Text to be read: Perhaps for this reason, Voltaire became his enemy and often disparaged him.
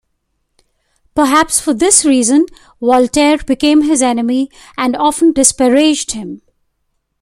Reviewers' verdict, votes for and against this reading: rejected, 0, 2